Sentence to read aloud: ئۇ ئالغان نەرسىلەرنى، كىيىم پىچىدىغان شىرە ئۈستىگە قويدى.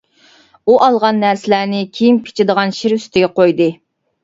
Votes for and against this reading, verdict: 1, 2, rejected